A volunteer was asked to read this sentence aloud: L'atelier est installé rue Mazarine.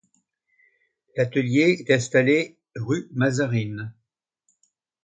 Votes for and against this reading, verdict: 2, 0, accepted